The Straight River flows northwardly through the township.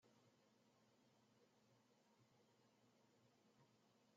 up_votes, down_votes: 0, 2